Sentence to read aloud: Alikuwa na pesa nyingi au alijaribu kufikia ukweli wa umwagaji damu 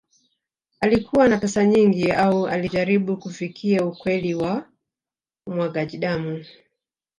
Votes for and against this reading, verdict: 0, 2, rejected